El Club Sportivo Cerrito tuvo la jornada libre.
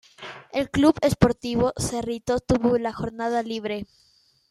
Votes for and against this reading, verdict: 2, 0, accepted